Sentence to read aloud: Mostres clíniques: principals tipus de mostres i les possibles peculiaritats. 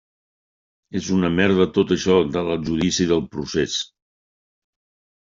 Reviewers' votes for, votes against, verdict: 0, 2, rejected